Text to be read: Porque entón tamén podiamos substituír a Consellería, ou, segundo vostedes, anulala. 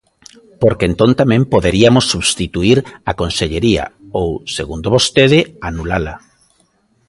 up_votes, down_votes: 0, 3